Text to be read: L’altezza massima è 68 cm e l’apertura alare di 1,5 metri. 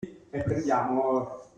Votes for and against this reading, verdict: 0, 2, rejected